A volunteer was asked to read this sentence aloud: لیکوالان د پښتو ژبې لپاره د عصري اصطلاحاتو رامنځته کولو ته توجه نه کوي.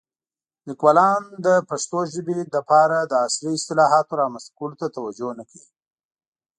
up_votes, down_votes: 2, 0